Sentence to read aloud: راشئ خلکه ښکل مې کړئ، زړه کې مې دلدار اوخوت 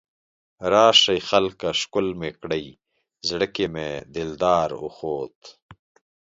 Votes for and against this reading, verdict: 3, 0, accepted